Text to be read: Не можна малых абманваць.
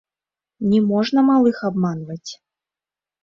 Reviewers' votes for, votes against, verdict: 2, 0, accepted